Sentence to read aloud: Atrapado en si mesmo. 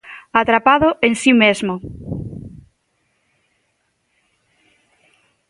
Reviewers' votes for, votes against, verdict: 2, 0, accepted